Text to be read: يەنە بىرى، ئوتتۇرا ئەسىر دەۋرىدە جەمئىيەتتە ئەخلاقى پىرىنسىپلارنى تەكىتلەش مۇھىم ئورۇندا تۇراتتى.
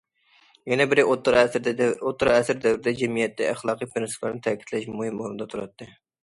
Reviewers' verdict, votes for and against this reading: rejected, 0, 2